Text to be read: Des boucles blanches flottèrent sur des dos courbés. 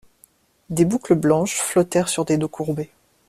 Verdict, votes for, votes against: accepted, 2, 0